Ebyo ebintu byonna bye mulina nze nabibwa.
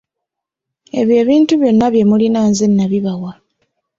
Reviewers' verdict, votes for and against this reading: accepted, 2, 0